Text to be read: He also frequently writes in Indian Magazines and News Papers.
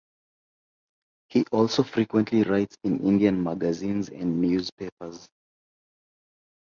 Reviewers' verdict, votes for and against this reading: accepted, 2, 0